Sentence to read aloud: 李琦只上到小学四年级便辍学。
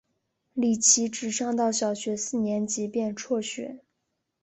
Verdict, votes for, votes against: accepted, 5, 0